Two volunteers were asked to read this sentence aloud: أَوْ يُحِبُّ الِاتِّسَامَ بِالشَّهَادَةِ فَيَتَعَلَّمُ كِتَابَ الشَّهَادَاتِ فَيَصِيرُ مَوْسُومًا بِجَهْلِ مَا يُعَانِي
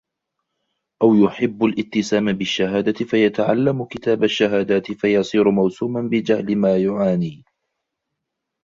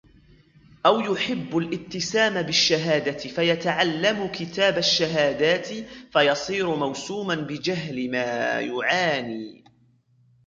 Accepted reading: first